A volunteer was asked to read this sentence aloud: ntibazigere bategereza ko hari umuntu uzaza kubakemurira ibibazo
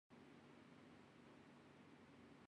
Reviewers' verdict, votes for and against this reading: rejected, 1, 2